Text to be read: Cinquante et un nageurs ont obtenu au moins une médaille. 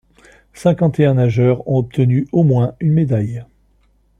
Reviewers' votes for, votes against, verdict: 2, 0, accepted